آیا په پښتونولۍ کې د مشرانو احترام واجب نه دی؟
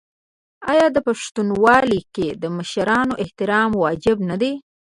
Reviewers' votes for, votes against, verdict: 1, 2, rejected